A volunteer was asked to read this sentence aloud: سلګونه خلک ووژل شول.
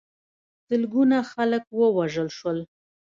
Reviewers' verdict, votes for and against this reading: accepted, 2, 0